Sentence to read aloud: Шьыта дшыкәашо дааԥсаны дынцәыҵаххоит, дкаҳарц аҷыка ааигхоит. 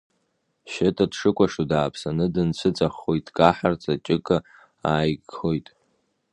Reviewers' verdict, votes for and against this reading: rejected, 0, 2